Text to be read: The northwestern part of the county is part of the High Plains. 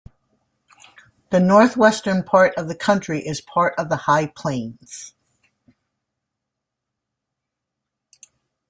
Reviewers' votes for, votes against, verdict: 1, 2, rejected